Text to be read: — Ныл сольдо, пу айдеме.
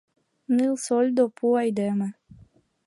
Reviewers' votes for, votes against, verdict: 2, 0, accepted